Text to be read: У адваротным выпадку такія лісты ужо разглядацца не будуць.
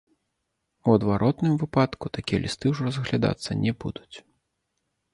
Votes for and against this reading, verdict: 2, 0, accepted